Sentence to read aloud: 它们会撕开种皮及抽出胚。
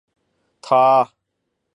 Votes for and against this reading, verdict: 3, 2, accepted